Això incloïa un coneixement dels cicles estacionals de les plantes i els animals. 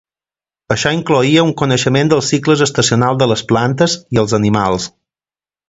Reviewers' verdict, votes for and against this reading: accepted, 2, 0